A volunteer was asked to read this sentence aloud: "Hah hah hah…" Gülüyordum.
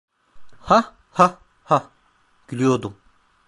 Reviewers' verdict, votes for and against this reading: rejected, 1, 2